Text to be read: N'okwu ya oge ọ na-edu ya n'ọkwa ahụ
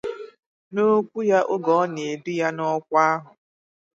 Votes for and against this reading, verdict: 2, 0, accepted